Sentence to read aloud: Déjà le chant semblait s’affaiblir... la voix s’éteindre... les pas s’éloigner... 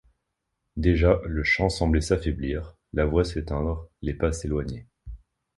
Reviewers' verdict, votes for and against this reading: accepted, 2, 0